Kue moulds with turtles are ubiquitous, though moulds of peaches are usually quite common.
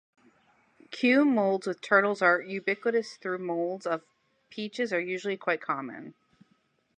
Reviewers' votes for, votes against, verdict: 2, 0, accepted